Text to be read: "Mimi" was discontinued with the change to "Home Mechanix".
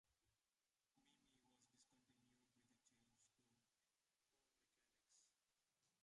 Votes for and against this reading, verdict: 0, 2, rejected